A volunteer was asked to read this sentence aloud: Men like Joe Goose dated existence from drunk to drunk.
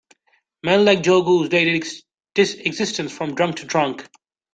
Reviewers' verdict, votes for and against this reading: rejected, 0, 2